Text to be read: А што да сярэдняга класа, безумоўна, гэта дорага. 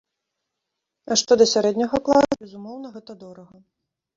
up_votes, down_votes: 0, 2